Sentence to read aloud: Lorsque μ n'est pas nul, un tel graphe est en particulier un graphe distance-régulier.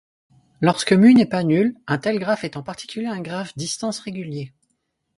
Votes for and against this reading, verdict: 2, 4, rejected